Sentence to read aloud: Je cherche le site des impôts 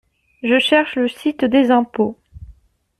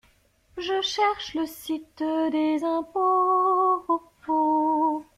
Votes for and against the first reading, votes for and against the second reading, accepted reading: 2, 0, 0, 2, first